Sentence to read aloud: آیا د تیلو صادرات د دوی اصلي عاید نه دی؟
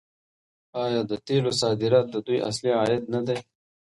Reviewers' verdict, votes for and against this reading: rejected, 0, 2